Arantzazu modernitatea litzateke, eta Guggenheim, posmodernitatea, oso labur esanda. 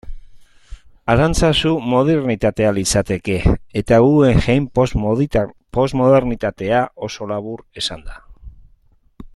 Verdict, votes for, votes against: rejected, 0, 2